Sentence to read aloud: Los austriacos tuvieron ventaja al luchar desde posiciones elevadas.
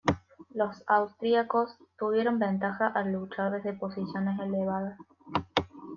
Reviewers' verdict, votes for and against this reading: accepted, 2, 0